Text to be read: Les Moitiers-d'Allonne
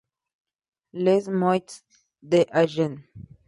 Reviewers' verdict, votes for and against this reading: rejected, 0, 2